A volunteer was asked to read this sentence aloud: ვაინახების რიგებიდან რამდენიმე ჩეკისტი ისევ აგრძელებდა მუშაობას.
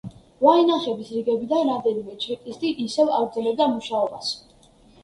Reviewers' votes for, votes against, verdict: 1, 2, rejected